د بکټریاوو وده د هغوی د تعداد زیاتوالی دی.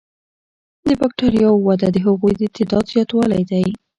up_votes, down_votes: 2, 0